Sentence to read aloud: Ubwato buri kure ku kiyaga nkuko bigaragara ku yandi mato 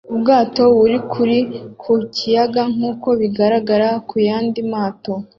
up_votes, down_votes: 0, 2